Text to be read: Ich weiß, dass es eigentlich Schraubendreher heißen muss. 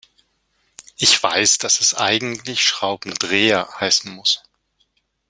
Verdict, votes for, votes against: accepted, 2, 0